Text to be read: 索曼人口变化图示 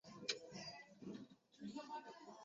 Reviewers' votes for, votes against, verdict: 0, 2, rejected